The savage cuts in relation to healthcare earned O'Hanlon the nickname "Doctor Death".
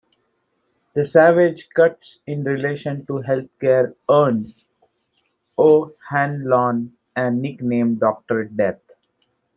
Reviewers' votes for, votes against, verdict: 0, 2, rejected